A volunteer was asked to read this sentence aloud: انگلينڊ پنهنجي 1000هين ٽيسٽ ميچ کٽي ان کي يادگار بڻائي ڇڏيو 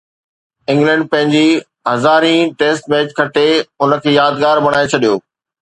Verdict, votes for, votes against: rejected, 0, 2